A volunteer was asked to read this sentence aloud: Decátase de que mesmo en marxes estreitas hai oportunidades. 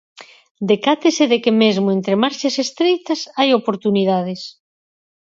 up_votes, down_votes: 0, 4